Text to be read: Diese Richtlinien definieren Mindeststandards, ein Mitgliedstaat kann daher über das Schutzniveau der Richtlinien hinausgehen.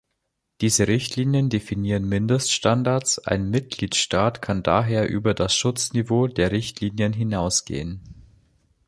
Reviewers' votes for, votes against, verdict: 2, 0, accepted